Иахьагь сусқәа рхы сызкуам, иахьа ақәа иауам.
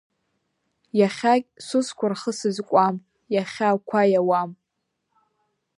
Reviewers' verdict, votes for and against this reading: accepted, 2, 0